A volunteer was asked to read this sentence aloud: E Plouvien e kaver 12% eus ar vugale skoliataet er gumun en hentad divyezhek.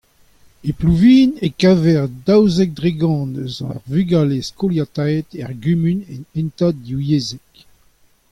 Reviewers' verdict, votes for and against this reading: rejected, 0, 2